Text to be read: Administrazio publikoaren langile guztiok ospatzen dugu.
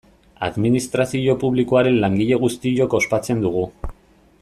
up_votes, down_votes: 2, 0